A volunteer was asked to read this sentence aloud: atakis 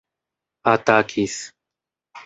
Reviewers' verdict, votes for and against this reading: accepted, 2, 0